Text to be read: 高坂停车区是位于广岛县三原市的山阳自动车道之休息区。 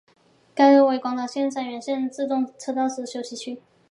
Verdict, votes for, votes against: rejected, 1, 3